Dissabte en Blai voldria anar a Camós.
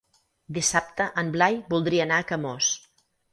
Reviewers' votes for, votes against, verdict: 6, 0, accepted